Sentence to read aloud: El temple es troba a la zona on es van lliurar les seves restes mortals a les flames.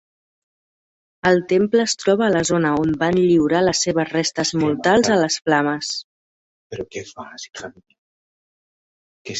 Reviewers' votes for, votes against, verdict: 1, 3, rejected